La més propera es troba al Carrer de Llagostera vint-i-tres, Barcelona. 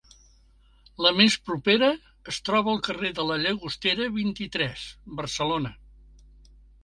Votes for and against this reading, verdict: 1, 3, rejected